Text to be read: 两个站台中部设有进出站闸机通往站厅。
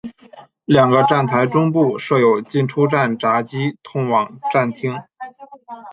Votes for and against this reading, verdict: 2, 0, accepted